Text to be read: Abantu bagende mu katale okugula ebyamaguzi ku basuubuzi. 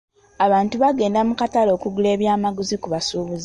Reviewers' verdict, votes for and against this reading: rejected, 0, 2